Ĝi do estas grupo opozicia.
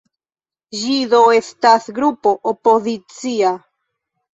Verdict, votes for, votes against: rejected, 1, 2